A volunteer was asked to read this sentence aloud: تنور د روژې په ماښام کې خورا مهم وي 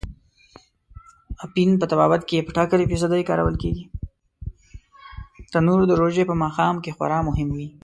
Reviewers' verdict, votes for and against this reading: rejected, 1, 2